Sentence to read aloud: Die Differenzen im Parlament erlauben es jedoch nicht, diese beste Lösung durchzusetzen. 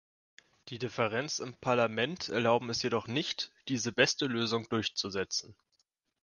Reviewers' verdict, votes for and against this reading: rejected, 1, 2